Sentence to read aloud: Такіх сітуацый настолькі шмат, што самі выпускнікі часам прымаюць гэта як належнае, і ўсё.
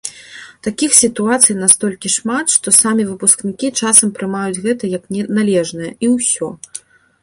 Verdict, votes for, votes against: rejected, 0, 2